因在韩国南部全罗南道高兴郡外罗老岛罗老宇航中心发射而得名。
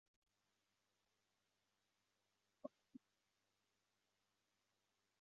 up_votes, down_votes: 0, 3